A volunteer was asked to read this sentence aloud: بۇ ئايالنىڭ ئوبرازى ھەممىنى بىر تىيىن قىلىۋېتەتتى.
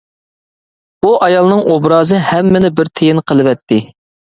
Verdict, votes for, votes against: rejected, 0, 2